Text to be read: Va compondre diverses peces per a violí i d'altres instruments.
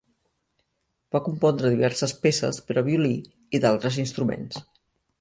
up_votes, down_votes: 2, 0